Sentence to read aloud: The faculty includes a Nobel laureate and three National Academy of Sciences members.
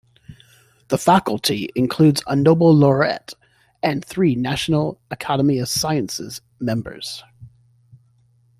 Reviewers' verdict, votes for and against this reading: rejected, 1, 2